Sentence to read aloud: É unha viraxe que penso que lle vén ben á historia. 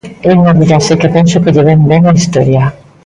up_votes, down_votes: 2, 0